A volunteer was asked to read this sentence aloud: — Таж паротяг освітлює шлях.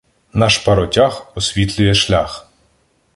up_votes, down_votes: 0, 2